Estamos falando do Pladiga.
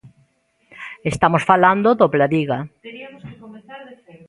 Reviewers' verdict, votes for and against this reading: rejected, 0, 2